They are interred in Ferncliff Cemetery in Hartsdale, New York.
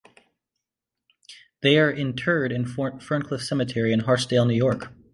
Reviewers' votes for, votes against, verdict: 0, 2, rejected